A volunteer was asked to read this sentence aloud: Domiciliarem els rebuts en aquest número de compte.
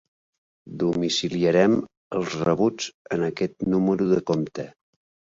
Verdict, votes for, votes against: accepted, 5, 0